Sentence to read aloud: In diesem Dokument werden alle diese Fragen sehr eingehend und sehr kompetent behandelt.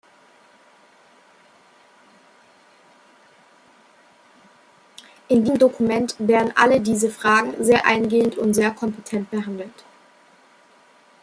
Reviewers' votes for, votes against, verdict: 1, 2, rejected